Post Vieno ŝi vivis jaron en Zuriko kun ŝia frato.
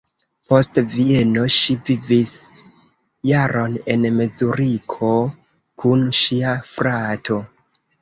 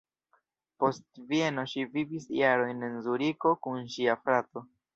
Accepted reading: second